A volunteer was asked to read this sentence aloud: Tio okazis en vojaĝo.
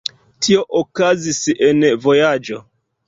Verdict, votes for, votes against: accepted, 2, 1